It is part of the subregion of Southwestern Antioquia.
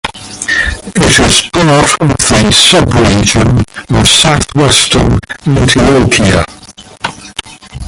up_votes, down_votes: 0, 2